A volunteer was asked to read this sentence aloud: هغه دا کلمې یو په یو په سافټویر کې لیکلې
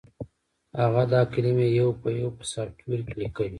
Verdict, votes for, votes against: accepted, 2, 0